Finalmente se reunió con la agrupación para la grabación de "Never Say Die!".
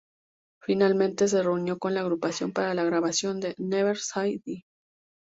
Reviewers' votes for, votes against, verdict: 0, 2, rejected